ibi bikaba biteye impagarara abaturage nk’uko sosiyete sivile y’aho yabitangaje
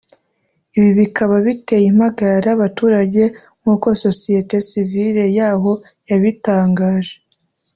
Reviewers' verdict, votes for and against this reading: rejected, 1, 2